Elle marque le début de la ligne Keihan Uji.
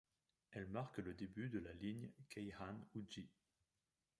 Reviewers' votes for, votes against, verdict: 1, 2, rejected